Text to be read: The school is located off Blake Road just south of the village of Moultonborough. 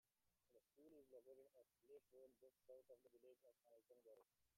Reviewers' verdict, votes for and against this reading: rejected, 0, 2